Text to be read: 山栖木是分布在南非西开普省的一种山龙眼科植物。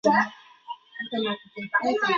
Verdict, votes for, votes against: rejected, 0, 3